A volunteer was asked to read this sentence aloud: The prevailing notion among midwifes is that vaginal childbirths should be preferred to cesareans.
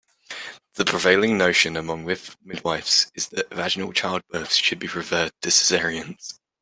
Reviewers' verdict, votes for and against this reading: rejected, 0, 2